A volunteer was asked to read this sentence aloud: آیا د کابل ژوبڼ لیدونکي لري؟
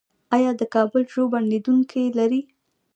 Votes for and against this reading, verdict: 1, 2, rejected